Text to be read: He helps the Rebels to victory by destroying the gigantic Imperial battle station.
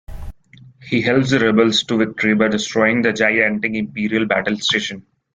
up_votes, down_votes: 0, 2